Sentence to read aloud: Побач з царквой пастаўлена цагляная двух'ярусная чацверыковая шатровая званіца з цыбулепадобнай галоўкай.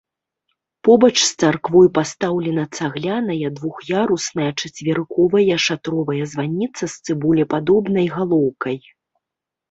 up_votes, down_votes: 2, 0